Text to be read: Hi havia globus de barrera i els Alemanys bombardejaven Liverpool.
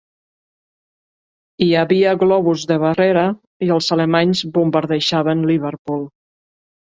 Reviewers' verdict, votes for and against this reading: accepted, 2, 0